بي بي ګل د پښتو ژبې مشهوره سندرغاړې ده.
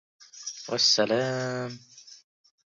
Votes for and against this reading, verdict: 1, 2, rejected